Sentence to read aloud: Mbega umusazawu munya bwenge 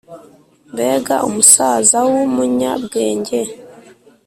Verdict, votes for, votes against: accepted, 2, 0